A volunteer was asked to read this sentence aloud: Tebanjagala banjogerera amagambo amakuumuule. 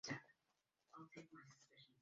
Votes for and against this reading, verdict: 0, 2, rejected